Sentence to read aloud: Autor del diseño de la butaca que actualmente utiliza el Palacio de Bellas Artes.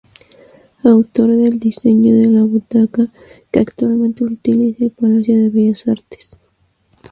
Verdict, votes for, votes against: rejected, 0, 2